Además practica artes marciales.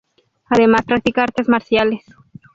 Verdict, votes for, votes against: rejected, 0, 2